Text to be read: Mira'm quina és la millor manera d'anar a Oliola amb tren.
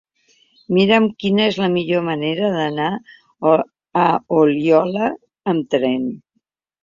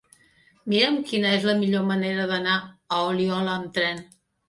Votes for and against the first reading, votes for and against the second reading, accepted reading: 2, 3, 2, 0, second